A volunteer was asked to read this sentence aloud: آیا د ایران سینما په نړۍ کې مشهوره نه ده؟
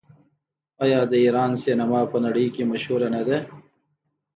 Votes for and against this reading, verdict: 2, 0, accepted